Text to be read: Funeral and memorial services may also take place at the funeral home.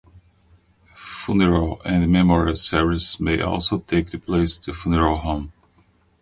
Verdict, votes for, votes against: rejected, 0, 2